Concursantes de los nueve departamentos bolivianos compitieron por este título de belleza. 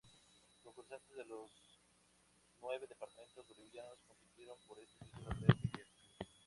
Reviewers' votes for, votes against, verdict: 0, 2, rejected